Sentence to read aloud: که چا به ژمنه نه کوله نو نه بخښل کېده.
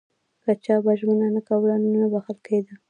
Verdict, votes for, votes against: accepted, 2, 0